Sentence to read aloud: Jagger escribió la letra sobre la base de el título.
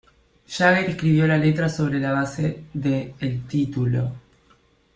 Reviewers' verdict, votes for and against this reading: rejected, 1, 2